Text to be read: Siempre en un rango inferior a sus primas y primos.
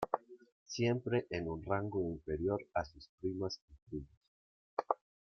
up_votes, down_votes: 0, 2